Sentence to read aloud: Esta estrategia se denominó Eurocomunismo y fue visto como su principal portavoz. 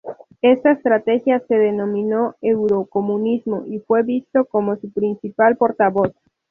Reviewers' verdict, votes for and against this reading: accepted, 2, 0